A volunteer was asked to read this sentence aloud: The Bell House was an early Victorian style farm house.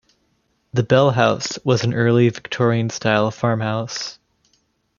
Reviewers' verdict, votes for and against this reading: accepted, 2, 0